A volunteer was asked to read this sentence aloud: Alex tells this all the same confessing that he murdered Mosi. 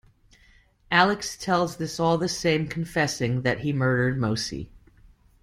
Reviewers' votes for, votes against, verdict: 2, 0, accepted